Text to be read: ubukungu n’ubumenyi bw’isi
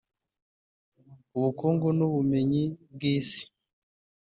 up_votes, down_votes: 0, 2